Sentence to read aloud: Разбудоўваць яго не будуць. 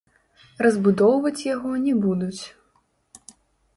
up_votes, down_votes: 1, 2